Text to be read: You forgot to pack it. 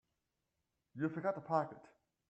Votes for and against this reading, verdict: 1, 2, rejected